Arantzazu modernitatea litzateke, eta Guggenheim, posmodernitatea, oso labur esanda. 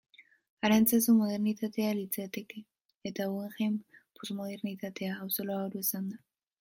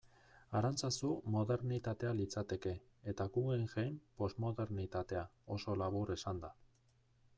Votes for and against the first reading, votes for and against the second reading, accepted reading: 2, 0, 0, 2, first